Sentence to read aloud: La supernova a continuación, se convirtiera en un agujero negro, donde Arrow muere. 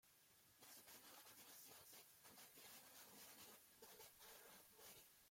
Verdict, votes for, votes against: rejected, 0, 2